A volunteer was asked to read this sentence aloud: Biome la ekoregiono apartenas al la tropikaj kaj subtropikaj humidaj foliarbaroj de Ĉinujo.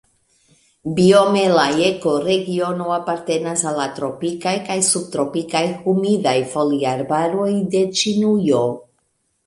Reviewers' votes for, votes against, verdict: 3, 0, accepted